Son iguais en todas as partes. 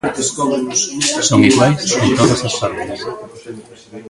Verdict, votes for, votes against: rejected, 0, 2